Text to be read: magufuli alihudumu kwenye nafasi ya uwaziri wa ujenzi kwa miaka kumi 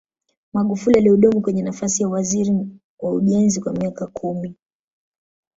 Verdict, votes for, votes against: rejected, 0, 2